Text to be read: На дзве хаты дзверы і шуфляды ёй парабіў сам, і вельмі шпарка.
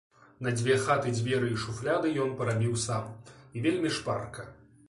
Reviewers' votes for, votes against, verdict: 2, 0, accepted